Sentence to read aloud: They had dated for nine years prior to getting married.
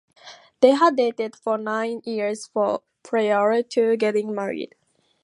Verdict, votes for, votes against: rejected, 0, 2